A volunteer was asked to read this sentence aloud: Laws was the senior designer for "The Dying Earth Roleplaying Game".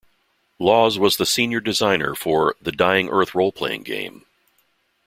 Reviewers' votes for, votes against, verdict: 2, 0, accepted